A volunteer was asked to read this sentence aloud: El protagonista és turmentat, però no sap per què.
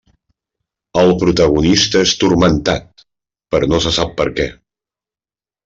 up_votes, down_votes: 0, 2